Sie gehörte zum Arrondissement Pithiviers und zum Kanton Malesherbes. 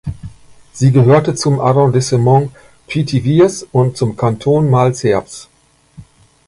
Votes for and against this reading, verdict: 1, 2, rejected